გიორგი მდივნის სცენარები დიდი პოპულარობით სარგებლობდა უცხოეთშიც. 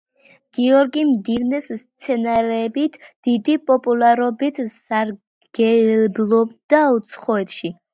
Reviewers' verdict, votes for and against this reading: rejected, 0, 2